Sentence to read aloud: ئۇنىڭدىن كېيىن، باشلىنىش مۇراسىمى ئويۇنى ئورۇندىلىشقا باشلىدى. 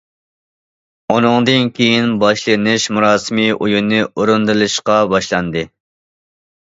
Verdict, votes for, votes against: rejected, 0, 2